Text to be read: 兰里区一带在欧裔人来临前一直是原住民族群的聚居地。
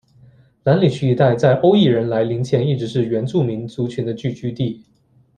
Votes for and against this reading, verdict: 2, 0, accepted